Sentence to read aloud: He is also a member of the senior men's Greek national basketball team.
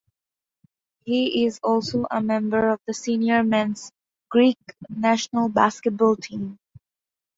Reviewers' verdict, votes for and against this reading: accepted, 2, 0